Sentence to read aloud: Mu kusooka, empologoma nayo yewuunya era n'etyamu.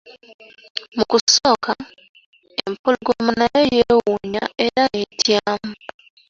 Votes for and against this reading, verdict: 2, 1, accepted